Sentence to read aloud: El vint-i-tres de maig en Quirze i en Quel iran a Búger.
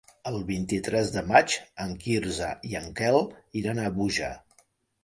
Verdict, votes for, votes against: accepted, 2, 0